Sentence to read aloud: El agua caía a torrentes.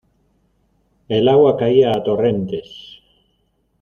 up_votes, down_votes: 2, 0